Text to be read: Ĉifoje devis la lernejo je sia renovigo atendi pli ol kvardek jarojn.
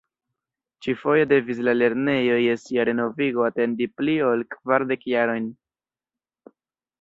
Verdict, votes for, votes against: rejected, 1, 2